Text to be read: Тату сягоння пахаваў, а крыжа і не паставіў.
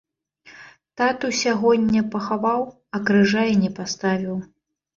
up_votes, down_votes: 2, 0